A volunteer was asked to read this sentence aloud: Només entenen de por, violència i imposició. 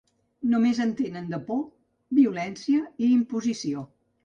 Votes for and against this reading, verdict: 3, 0, accepted